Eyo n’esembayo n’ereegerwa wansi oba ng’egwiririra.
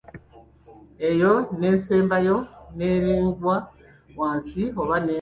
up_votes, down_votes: 0, 2